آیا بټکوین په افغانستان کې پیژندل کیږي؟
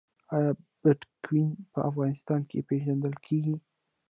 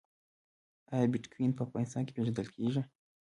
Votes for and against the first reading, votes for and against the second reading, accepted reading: 0, 2, 2, 1, second